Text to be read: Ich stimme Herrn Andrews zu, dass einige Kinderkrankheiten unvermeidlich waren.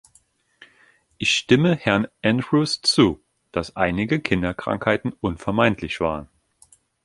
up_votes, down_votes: 3, 1